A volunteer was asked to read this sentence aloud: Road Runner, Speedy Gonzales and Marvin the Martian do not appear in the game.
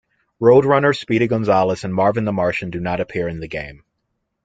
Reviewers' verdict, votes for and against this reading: accepted, 2, 0